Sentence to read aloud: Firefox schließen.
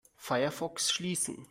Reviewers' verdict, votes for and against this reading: accepted, 2, 0